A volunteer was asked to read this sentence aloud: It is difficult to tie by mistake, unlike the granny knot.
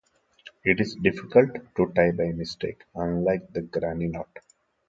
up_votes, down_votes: 2, 0